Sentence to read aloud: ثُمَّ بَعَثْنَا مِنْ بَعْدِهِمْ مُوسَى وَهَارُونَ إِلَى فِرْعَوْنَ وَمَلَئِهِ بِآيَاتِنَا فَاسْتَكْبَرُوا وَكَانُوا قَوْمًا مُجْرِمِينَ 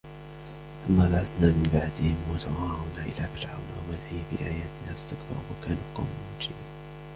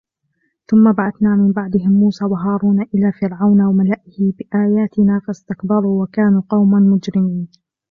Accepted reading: second